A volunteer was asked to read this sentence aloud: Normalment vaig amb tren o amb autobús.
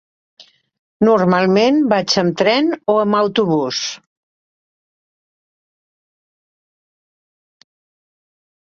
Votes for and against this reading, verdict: 4, 0, accepted